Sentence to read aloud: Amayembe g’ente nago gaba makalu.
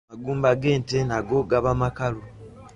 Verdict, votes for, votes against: rejected, 0, 2